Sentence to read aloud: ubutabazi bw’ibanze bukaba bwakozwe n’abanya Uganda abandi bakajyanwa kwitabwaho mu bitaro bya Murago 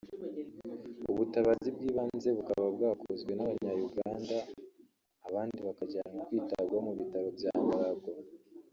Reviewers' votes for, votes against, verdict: 0, 2, rejected